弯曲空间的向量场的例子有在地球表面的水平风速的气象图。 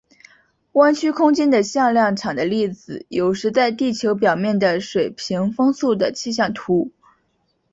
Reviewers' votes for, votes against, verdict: 0, 2, rejected